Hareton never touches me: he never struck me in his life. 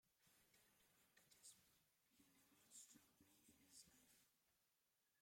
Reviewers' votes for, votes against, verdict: 0, 2, rejected